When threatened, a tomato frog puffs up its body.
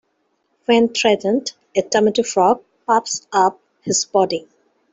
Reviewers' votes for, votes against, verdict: 2, 0, accepted